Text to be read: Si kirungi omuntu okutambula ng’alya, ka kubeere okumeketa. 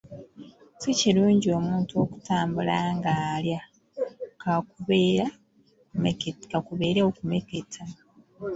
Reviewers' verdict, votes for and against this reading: rejected, 0, 2